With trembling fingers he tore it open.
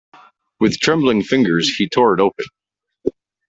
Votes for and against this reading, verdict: 2, 0, accepted